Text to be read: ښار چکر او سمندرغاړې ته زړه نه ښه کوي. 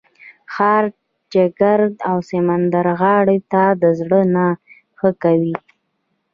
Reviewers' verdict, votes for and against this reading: accepted, 2, 0